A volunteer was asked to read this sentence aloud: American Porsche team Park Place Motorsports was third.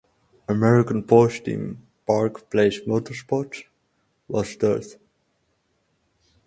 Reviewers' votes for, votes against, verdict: 2, 4, rejected